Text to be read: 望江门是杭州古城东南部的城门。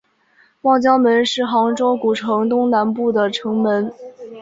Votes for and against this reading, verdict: 3, 0, accepted